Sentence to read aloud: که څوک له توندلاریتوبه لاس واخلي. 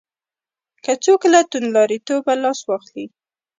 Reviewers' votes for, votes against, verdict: 0, 2, rejected